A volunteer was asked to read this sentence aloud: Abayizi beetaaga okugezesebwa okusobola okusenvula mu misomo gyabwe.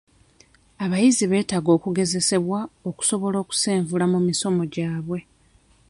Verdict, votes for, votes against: accepted, 2, 0